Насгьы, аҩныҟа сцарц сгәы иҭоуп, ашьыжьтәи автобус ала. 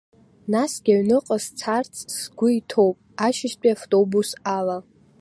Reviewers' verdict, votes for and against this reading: accepted, 2, 0